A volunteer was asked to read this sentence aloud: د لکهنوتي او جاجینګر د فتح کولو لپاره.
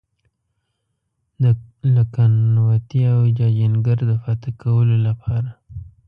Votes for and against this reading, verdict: 0, 2, rejected